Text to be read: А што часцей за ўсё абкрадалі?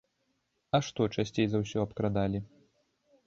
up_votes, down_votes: 2, 0